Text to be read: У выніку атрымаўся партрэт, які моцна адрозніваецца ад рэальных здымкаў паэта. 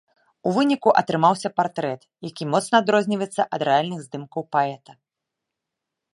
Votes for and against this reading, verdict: 2, 0, accepted